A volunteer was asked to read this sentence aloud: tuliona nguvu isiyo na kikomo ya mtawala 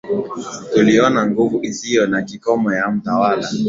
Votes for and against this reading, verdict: 8, 0, accepted